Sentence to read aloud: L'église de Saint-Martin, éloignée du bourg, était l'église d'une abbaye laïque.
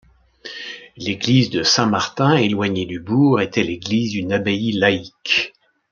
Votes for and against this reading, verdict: 2, 0, accepted